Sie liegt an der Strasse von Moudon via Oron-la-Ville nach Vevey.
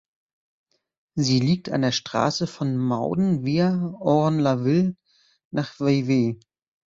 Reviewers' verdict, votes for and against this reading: rejected, 1, 2